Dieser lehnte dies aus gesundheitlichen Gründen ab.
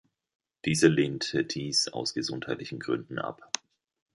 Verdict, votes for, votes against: rejected, 1, 2